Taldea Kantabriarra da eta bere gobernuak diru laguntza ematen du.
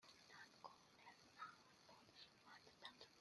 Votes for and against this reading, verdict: 0, 2, rejected